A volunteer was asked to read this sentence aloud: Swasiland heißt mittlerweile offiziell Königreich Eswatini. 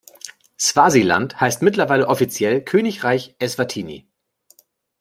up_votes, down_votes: 2, 0